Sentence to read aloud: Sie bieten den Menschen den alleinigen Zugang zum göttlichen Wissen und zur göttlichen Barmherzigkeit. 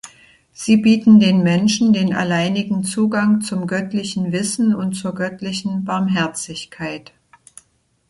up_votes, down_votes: 2, 0